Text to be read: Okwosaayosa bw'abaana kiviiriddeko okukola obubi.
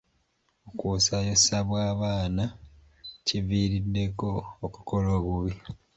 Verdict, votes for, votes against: rejected, 1, 2